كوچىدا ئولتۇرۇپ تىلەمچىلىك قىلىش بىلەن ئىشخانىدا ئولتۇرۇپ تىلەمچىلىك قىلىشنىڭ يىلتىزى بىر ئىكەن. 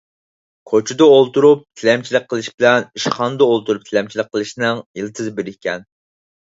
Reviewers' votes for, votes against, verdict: 4, 0, accepted